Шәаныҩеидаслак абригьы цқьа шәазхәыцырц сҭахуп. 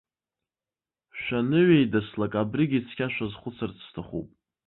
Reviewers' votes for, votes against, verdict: 2, 0, accepted